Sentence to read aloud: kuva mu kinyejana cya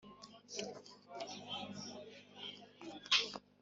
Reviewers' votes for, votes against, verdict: 0, 2, rejected